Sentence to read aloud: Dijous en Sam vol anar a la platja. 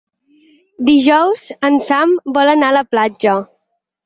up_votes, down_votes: 6, 0